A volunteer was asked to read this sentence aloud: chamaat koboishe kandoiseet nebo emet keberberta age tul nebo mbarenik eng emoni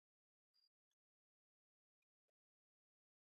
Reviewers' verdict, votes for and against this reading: rejected, 1, 2